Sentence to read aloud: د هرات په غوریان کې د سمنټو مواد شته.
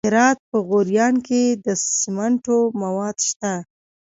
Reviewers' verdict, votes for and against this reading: accepted, 2, 0